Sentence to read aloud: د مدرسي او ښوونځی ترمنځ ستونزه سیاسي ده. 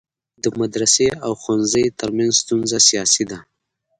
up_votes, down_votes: 0, 2